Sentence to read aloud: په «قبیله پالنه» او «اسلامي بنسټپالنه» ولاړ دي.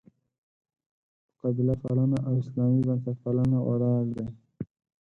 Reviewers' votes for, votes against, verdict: 0, 4, rejected